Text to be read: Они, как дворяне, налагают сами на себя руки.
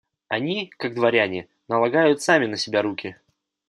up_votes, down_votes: 2, 0